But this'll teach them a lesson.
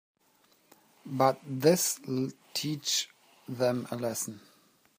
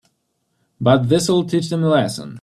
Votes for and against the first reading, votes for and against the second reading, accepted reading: 1, 2, 2, 0, second